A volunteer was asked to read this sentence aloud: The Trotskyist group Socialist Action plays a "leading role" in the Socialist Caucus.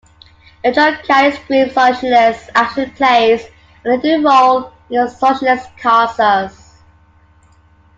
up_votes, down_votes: 0, 2